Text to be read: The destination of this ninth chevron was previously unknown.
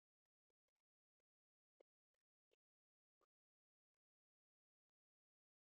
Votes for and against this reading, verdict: 0, 6, rejected